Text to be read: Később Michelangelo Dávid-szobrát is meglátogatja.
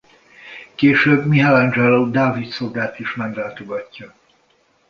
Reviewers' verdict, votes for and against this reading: rejected, 1, 2